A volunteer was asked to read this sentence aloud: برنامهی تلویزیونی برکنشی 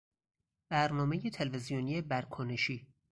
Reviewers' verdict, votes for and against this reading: accepted, 4, 0